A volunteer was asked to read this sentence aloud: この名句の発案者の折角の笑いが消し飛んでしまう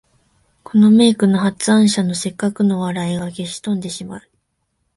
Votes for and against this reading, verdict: 2, 0, accepted